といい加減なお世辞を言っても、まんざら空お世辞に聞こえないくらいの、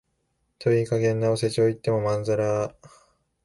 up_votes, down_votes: 0, 2